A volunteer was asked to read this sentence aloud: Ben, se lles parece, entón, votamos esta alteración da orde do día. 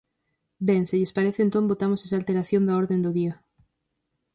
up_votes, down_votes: 0, 4